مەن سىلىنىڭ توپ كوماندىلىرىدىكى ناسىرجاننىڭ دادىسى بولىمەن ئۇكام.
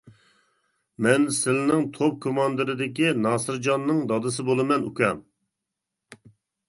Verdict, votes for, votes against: rejected, 0, 2